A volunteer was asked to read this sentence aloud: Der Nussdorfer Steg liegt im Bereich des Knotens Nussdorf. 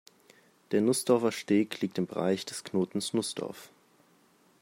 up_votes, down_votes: 2, 0